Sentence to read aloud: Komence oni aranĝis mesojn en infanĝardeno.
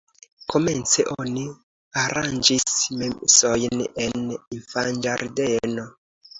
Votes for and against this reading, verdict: 2, 1, accepted